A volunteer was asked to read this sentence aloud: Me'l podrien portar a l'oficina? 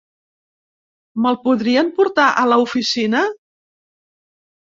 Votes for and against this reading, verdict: 2, 0, accepted